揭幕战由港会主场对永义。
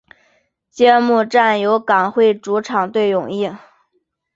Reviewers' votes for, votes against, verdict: 4, 0, accepted